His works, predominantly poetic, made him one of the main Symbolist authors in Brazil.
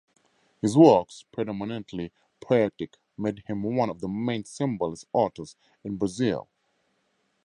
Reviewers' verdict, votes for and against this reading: accepted, 4, 0